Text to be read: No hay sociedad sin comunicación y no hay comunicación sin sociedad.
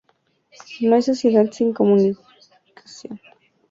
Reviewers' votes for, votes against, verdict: 0, 2, rejected